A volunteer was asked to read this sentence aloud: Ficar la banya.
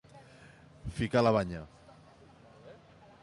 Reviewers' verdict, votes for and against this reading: accepted, 2, 0